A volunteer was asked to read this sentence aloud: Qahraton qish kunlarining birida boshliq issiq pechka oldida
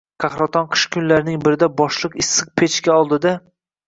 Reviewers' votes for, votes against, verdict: 2, 0, accepted